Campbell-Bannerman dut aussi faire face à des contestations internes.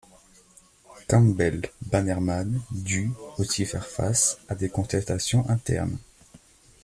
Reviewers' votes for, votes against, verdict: 2, 0, accepted